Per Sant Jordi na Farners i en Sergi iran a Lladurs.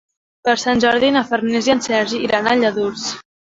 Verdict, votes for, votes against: accepted, 2, 1